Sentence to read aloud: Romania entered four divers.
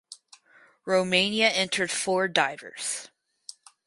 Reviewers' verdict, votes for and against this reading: accepted, 4, 0